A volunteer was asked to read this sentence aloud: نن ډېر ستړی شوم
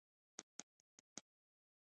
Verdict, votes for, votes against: rejected, 1, 2